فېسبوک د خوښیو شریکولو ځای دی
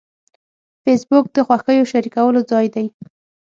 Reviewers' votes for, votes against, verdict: 6, 0, accepted